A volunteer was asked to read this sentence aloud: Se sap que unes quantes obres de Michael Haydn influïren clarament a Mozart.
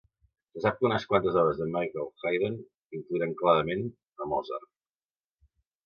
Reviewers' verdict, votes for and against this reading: rejected, 1, 2